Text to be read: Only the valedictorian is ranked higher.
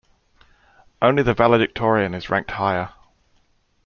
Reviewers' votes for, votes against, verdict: 2, 0, accepted